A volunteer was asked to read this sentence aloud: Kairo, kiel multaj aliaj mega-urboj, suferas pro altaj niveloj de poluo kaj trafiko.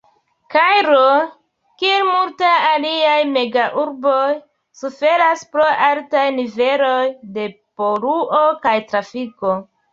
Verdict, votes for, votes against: rejected, 1, 2